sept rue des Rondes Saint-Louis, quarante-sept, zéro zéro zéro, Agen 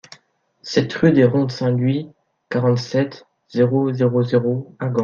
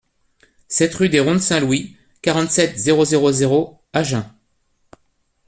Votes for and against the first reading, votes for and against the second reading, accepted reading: 0, 2, 2, 0, second